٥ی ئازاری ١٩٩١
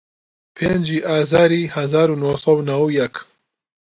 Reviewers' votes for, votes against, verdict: 0, 2, rejected